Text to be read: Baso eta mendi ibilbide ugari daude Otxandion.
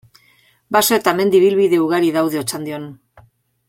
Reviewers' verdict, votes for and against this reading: accepted, 2, 0